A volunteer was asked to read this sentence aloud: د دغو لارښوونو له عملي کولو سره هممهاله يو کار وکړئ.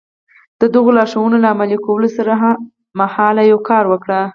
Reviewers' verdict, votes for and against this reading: rejected, 2, 4